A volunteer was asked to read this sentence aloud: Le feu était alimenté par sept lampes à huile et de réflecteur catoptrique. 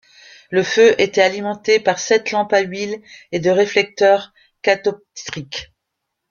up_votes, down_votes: 0, 2